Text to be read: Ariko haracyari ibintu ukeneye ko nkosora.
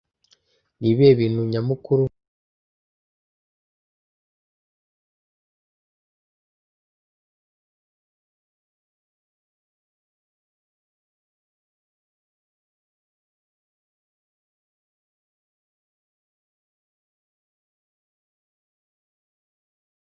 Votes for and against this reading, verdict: 0, 2, rejected